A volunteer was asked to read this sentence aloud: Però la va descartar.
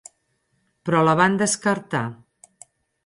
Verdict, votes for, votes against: rejected, 2, 4